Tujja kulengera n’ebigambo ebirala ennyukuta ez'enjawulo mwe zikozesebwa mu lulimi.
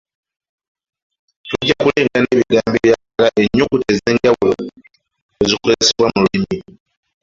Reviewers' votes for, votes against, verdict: 0, 2, rejected